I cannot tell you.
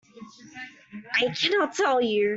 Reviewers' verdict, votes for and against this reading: rejected, 0, 2